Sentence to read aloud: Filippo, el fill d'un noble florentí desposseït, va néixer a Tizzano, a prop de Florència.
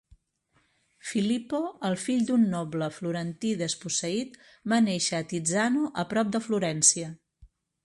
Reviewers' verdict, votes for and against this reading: accepted, 4, 0